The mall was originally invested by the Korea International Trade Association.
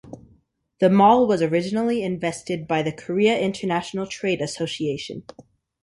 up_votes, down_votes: 2, 0